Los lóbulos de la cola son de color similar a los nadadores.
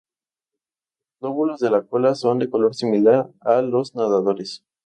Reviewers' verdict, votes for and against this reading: rejected, 0, 2